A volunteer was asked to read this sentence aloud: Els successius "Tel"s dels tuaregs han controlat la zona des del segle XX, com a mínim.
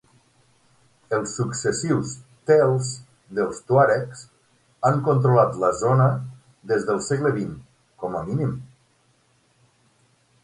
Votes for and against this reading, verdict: 9, 0, accepted